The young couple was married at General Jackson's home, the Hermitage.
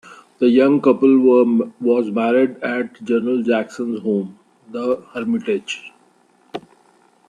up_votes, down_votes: 0, 2